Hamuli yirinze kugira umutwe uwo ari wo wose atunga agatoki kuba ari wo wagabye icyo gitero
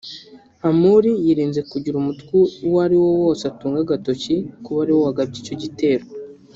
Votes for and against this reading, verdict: 2, 0, accepted